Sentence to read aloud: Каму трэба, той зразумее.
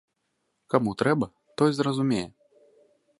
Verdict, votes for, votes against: accepted, 2, 0